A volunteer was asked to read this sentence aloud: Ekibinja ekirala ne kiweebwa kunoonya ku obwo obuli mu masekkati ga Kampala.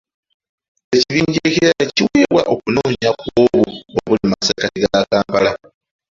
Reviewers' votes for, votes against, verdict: 0, 2, rejected